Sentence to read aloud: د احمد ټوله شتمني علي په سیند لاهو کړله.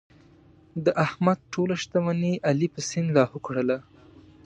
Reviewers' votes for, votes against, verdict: 2, 0, accepted